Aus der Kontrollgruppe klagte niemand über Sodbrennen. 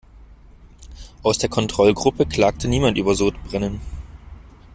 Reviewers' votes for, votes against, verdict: 2, 0, accepted